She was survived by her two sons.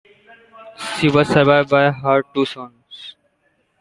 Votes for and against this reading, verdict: 1, 2, rejected